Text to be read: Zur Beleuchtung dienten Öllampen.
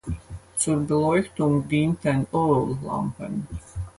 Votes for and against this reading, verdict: 4, 2, accepted